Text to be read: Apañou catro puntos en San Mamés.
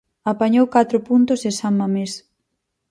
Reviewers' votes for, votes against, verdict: 4, 0, accepted